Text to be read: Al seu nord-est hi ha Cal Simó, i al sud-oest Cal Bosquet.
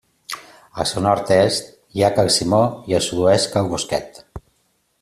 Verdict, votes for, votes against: accepted, 2, 0